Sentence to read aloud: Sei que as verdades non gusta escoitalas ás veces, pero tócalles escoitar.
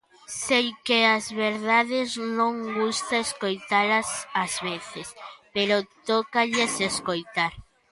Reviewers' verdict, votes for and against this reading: rejected, 1, 2